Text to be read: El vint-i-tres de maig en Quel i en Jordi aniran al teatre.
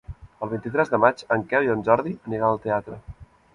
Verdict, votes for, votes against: accepted, 3, 0